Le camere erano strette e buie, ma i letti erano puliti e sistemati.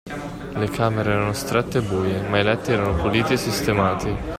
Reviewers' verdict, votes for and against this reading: accepted, 2, 1